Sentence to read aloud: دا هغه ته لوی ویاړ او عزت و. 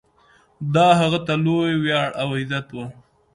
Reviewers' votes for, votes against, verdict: 2, 0, accepted